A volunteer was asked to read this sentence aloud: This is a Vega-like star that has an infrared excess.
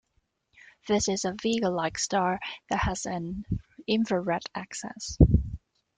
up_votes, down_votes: 1, 2